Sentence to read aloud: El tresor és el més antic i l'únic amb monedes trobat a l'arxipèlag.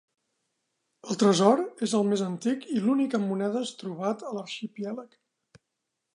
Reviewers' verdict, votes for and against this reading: rejected, 0, 2